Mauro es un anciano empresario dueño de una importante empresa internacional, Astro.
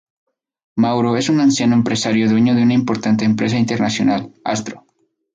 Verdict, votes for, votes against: accepted, 4, 0